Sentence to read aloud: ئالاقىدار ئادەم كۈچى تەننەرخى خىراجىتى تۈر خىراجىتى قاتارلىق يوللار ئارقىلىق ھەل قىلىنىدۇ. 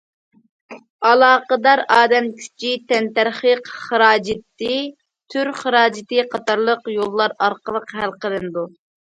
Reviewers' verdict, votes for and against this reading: rejected, 0, 2